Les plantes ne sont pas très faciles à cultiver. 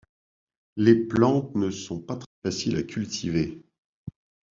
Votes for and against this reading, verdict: 1, 2, rejected